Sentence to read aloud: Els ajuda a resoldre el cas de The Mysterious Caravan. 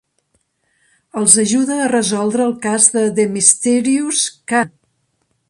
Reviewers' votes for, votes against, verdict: 0, 3, rejected